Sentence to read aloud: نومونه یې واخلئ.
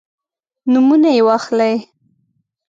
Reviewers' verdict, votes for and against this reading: accepted, 2, 0